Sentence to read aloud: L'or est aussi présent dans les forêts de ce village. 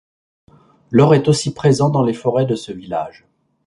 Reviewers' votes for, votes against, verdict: 2, 0, accepted